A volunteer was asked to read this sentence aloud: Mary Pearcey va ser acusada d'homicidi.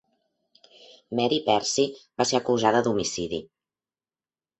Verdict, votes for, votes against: accepted, 2, 1